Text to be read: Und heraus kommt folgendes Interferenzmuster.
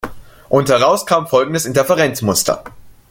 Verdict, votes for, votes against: rejected, 1, 2